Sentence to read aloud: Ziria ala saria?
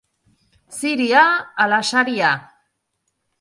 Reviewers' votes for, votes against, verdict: 4, 0, accepted